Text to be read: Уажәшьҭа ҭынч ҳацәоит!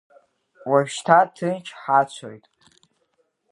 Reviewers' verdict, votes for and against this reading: rejected, 0, 2